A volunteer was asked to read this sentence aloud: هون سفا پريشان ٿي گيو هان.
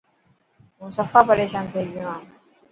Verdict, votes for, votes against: accepted, 2, 0